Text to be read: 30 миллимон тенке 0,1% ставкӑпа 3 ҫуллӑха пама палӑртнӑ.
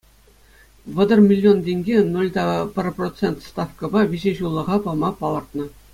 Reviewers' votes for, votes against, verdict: 0, 2, rejected